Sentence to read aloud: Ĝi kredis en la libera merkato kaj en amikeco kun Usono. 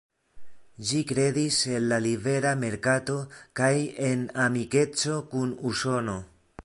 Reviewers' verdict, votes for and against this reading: rejected, 1, 2